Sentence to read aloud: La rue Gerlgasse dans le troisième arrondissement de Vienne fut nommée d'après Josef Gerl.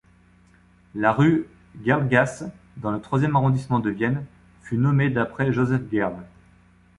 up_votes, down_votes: 2, 0